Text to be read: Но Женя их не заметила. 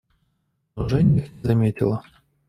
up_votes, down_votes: 1, 2